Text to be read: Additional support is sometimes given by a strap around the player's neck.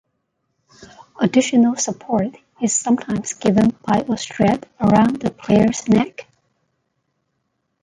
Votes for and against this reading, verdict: 0, 2, rejected